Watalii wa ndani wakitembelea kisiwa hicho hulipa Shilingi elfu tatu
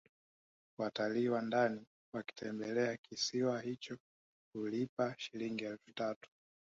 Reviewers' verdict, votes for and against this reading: accepted, 2, 1